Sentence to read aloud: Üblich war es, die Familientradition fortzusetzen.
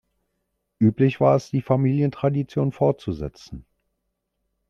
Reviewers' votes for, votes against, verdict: 2, 0, accepted